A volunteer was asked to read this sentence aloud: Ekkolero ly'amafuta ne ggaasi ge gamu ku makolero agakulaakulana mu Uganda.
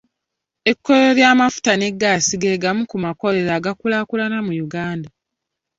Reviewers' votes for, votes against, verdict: 2, 0, accepted